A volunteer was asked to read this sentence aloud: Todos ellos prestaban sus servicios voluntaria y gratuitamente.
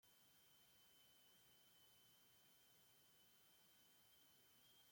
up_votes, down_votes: 0, 2